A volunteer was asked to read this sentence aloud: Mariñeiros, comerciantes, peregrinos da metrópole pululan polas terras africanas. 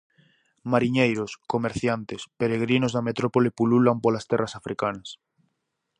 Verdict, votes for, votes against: accepted, 4, 0